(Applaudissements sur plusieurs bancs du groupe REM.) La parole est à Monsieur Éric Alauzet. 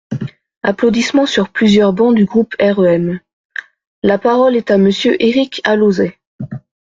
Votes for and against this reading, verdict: 2, 0, accepted